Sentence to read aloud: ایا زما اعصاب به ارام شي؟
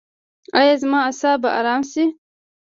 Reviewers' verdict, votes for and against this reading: rejected, 1, 2